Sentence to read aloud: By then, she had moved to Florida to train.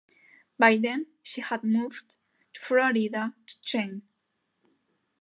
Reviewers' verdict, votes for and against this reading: accepted, 2, 0